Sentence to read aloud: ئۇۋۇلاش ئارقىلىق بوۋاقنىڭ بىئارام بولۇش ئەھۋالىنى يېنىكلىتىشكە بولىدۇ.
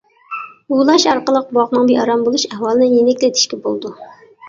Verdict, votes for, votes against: accepted, 2, 1